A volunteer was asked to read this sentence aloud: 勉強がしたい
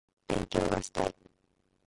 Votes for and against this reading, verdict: 1, 2, rejected